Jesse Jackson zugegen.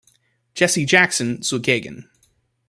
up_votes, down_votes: 2, 0